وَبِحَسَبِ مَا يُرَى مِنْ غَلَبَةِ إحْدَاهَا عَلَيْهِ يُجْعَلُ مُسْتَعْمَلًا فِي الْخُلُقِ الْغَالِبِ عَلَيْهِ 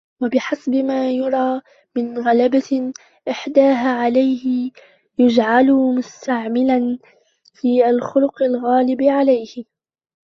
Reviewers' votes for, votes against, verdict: 0, 2, rejected